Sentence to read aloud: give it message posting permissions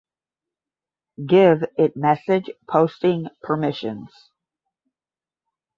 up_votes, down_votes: 5, 0